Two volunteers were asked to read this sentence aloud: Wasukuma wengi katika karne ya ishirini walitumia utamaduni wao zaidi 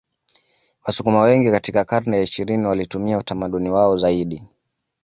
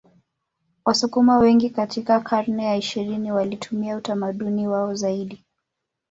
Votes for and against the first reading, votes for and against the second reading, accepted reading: 2, 0, 1, 2, first